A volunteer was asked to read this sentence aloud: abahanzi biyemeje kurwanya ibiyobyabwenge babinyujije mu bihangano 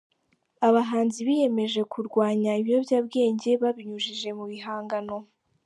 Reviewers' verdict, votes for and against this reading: accepted, 3, 0